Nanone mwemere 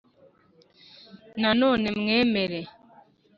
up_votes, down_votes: 3, 0